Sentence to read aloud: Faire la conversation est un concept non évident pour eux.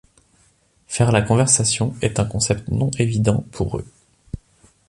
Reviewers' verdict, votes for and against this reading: accepted, 2, 0